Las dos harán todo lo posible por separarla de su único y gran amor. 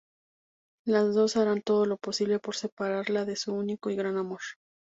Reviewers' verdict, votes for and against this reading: accepted, 2, 0